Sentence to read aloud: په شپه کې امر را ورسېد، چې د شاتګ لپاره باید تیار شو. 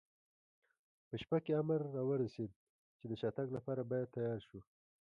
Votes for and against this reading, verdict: 2, 0, accepted